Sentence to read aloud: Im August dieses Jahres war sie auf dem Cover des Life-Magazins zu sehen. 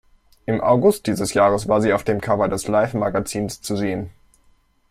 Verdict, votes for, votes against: accepted, 2, 0